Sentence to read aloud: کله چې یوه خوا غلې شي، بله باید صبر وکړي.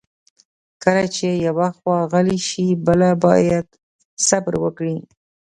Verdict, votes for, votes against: rejected, 0, 2